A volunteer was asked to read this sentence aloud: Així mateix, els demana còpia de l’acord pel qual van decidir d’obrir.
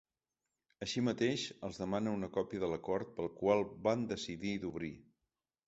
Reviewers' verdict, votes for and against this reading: rejected, 0, 2